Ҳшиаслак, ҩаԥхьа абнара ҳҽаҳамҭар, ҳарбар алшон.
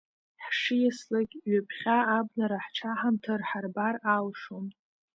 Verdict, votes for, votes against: accepted, 2, 1